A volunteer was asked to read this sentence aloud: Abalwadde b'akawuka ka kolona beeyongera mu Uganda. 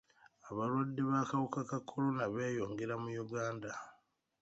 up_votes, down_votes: 2, 0